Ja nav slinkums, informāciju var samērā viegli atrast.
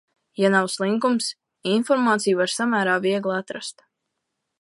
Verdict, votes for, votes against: accepted, 2, 0